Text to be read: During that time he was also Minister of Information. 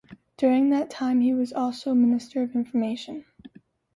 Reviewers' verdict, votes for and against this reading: accepted, 2, 0